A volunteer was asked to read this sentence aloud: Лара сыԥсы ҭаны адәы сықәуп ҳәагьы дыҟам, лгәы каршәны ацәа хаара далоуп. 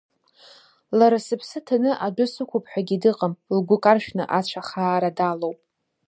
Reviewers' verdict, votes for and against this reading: accepted, 2, 0